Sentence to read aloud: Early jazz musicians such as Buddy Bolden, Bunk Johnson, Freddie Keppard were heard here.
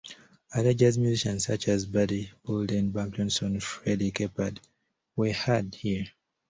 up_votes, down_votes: 2, 1